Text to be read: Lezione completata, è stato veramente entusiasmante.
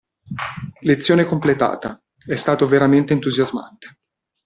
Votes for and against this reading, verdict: 2, 0, accepted